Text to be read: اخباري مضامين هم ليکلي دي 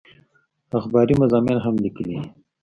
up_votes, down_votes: 1, 2